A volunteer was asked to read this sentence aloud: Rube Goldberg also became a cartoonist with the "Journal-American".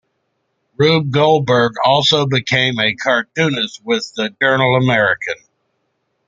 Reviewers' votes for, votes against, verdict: 2, 0, accepted